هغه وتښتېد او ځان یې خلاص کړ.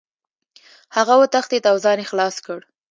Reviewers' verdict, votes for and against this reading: accepted, 2, 0